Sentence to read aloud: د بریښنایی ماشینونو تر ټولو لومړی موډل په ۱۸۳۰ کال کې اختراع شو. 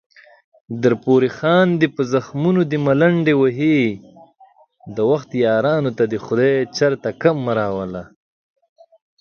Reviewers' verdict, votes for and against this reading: rejected, 0, 2